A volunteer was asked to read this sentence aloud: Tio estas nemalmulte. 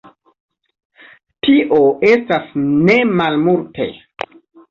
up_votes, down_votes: 2, 0